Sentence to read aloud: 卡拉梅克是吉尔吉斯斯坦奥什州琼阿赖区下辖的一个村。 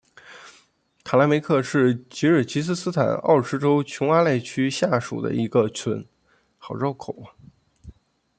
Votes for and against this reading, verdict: 0, 2, rejected